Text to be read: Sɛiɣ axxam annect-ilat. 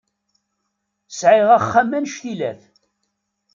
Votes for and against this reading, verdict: 2, 0, accepted